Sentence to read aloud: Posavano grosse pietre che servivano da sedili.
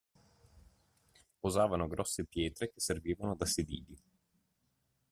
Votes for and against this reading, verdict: 2, 1, accepted